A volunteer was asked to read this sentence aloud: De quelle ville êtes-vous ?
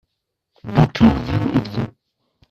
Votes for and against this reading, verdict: 2, 1, accepted